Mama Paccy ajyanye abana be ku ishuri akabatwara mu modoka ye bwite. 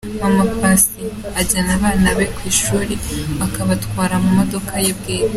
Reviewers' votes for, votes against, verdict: 2, 0, accepted